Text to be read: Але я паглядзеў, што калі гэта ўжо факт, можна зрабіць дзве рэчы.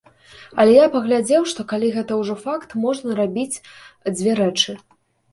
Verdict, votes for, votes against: rejected, 0, 2